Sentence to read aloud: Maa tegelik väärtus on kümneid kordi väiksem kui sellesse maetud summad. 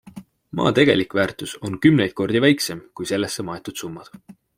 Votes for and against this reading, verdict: 2, 0, accepted